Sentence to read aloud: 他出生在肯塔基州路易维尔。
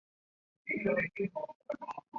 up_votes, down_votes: 1, 2